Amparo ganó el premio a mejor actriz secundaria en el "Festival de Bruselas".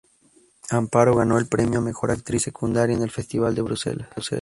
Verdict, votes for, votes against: accepted, 2, 0